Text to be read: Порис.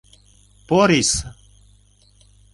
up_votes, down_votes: 2, 0